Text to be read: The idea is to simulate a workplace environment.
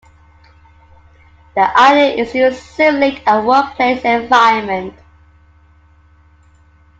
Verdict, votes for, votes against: rejected, 0, 2